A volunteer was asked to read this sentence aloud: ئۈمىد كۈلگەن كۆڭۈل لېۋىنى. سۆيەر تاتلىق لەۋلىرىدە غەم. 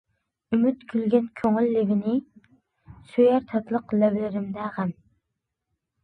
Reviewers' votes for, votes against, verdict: 0, 2, rejected